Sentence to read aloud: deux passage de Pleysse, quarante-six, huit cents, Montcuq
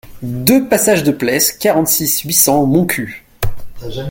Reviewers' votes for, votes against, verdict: 2, 0, accepted